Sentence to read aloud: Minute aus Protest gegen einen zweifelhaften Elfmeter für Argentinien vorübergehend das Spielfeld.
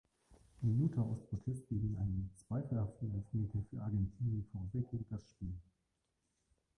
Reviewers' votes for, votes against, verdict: 1, 2, rejected